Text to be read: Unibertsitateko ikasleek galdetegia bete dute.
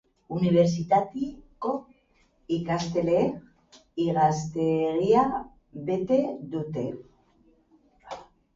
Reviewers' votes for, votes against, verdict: 0, 3, rejected